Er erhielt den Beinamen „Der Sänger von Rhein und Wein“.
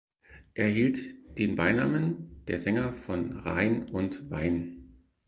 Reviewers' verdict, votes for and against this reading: rejected, 0, 4